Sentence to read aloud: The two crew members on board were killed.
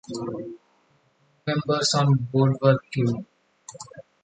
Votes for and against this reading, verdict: 0, 2, rejected